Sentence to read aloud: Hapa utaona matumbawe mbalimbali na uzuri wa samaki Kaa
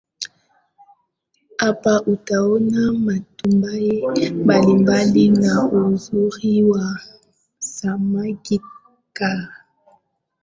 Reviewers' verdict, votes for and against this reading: rejected, 0, 2